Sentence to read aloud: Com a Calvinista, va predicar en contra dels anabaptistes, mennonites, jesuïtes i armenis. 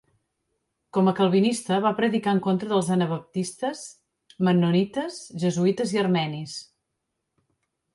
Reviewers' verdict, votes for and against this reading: accepted, 2, 0